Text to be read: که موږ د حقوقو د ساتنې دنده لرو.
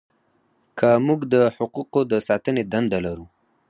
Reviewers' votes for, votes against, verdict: 0, 4, rejected